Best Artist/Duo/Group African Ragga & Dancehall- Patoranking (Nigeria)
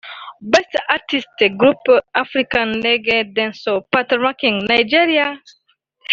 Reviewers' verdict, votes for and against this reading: rejected, 0, 2